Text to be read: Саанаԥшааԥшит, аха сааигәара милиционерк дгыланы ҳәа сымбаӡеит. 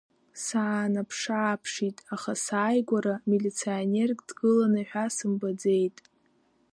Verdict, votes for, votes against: rejected, 1, 2